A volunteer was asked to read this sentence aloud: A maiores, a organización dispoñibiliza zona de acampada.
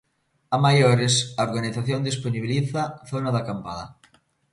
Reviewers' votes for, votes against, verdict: 2, 1, accepted